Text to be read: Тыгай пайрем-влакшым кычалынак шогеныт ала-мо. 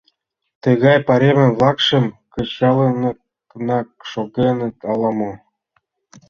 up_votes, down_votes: 0, 2